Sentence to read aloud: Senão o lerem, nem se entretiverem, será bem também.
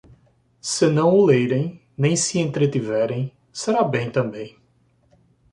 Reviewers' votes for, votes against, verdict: 2, 0, accepted